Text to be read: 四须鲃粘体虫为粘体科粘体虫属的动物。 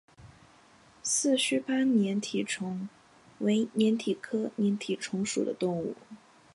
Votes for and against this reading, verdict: 3, 0, accepted